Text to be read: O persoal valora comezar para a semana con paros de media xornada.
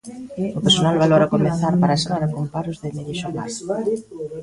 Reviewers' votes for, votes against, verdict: 0, 2, rejected